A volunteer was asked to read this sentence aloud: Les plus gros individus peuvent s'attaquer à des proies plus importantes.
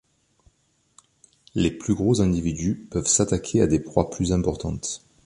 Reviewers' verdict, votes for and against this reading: accepted, 3, 0